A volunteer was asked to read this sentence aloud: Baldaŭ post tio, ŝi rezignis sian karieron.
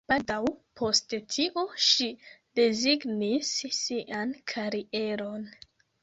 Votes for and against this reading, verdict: 1, 2, rejected